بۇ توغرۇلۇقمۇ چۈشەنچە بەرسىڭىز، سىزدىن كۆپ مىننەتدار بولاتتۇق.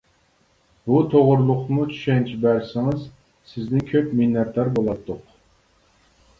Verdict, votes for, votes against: accepted, 2, 0